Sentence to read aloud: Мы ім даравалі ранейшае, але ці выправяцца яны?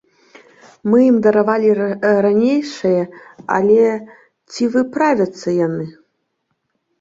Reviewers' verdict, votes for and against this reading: rejected, 0, 3